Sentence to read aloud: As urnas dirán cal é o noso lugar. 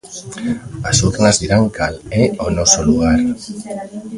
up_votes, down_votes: 1, 2